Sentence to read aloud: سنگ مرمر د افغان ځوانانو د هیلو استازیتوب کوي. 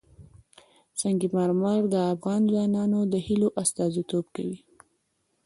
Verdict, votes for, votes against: accepted, 2, 1